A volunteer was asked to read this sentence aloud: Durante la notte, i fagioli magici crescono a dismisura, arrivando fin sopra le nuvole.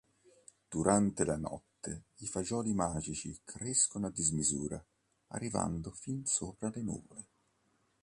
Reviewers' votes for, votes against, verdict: 2, 0, accepted